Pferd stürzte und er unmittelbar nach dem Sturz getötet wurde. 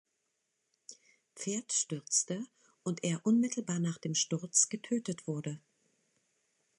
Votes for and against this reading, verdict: 2, 0, accepted